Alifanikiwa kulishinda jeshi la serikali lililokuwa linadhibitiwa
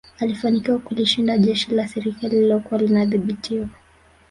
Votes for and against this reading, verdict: 1, 2, rejected